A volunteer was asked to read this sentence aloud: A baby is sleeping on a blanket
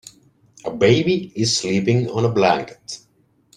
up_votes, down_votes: 1, 2